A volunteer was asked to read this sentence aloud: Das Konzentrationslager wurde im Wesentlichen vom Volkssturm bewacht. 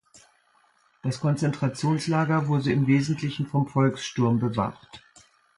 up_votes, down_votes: 3, 0